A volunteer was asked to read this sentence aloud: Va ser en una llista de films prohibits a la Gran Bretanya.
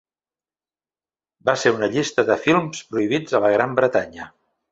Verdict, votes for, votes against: accepted, 2, 1